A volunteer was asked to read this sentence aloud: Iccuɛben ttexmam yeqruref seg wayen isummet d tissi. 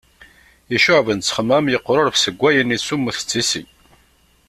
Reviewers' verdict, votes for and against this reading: accepted, 2, 0